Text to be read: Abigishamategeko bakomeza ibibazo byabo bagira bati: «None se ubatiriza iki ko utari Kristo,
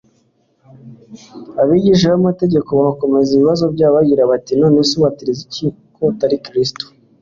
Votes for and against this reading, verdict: 2, 0, accepted